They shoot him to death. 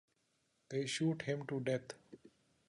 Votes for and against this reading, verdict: 2, 1, accepted